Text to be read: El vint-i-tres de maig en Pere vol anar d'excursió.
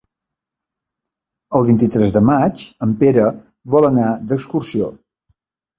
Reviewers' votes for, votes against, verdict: 2, 0, accepted